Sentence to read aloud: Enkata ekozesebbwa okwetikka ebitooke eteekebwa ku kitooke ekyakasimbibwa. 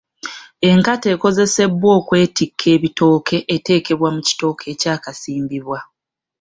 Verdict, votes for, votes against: accepted, 2, 0